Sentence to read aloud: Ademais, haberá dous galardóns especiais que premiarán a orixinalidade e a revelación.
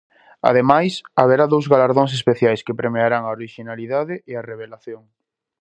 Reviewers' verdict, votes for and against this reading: accepted, 2, 0